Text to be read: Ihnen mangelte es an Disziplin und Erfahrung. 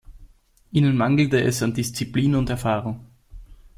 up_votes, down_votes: 2, 0